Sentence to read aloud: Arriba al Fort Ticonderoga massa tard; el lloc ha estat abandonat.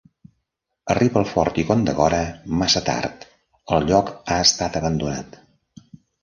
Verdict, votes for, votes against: rejected, 0, 2